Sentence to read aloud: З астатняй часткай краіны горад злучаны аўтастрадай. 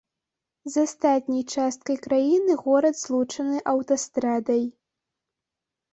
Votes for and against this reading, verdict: 2, 0, accepted